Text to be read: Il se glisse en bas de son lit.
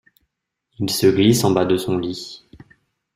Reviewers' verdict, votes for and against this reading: accepted, 2, 0